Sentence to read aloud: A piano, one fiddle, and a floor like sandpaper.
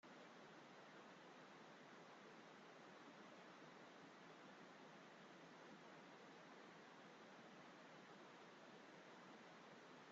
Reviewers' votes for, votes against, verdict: 0, 2, rejected